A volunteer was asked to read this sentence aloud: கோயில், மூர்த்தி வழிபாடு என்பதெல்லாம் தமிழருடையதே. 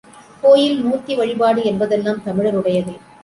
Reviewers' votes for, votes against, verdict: 2, 0, accepted